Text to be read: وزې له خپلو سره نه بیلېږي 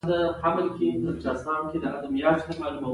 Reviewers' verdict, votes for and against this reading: accepted, 2, 0